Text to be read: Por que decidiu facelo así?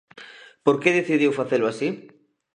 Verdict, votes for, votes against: accepted, 2, 0